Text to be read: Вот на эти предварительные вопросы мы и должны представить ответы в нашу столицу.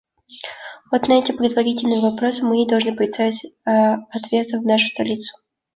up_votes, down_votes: 2, 0